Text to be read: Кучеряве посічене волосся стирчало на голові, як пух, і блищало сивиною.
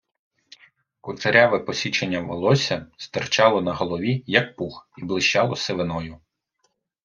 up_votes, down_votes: 1, 2